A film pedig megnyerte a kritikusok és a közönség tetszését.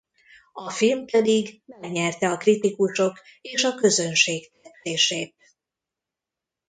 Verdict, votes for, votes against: rejected, 0, 2